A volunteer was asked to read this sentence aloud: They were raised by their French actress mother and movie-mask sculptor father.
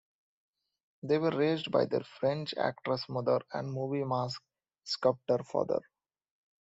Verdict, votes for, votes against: accepted, 2, 0